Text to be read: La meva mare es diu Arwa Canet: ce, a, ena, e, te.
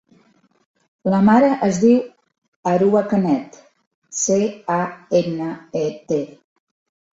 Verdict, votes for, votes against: rejected, 1, 2